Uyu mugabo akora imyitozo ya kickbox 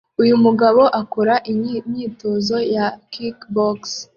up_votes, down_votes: 0, 2